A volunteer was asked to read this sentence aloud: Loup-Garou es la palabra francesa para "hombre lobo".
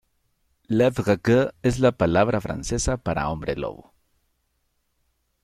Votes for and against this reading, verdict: 2, 0, accepted